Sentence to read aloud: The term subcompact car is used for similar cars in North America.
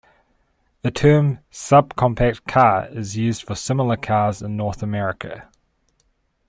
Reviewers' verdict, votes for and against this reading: accepted, 2, 0